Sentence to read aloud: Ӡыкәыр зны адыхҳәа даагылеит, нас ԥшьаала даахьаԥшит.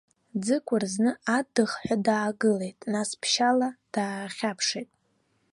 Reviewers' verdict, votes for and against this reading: accepted, 2, 0